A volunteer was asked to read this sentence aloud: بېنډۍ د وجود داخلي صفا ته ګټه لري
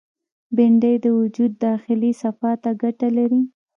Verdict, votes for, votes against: rejected, 1, 2